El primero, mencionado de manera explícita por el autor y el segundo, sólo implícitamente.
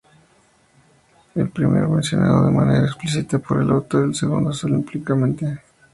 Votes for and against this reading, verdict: 2, 0, accepted